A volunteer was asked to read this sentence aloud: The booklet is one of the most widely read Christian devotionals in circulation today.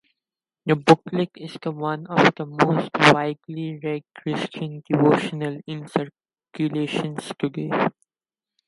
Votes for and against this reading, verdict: 2, 2, rejected